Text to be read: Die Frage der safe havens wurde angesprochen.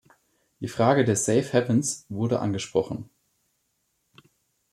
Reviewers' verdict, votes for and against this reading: rejected, 1, 2